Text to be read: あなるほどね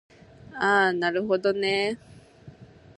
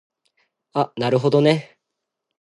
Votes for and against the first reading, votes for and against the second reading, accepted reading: 2, 0, 1, 2, first